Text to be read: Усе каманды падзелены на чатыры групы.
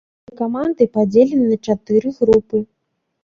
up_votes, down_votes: 1, 2